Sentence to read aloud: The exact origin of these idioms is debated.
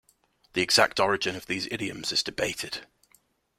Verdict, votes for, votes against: accepted, 2, 0